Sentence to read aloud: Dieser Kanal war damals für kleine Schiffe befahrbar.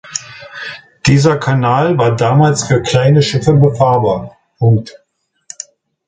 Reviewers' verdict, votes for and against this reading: rejected, 0, 2